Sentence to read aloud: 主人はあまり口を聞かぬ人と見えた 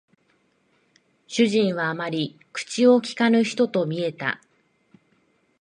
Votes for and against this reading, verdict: 2, 0, accepted